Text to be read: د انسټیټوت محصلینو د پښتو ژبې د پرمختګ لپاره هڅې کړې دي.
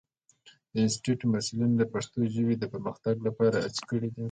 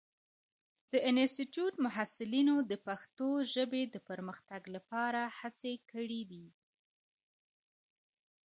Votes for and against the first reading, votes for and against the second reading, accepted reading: 2, 1, 1, 2, first